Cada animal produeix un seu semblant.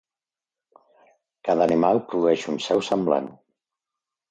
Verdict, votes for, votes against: accepted, 2, 0